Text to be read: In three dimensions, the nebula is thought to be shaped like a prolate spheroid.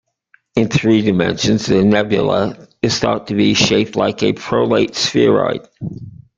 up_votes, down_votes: 0, 2